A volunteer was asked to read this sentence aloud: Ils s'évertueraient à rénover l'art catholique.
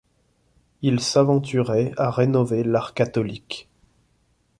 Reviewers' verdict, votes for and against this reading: rejected, 1, 2